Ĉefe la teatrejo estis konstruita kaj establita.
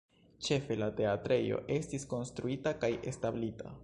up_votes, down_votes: 1, 2